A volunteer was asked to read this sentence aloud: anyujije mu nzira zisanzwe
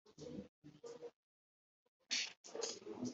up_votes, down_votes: 1, 2